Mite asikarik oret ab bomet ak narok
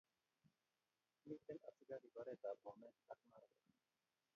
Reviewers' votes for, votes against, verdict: 0, 2, rejected